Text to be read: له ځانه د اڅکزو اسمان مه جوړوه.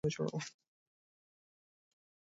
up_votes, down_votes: 0, 2